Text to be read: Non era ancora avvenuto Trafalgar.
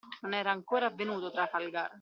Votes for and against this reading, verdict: 2, 0, accepted